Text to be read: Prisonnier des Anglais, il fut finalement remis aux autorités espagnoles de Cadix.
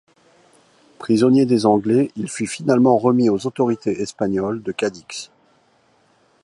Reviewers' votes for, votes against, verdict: 2, 0, accepted